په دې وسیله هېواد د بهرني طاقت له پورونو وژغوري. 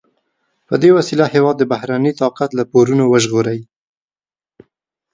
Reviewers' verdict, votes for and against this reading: accepted, 2, 0